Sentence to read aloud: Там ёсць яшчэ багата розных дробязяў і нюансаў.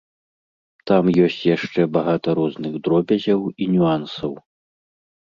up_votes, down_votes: 2, 0